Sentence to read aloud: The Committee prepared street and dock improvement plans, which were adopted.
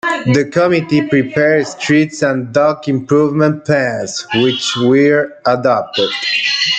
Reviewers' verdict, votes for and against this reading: rejected, 1, 2